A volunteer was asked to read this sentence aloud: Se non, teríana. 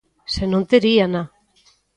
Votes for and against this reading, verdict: 2, 0, accepted